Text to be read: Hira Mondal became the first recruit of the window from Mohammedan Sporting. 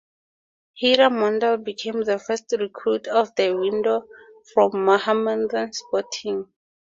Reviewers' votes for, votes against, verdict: 0, 2, rejected